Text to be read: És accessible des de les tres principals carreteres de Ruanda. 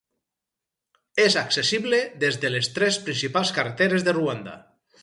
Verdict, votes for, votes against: rejected, 2, 2